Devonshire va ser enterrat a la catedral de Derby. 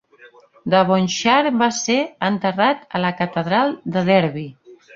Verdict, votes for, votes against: accepted, 2, 0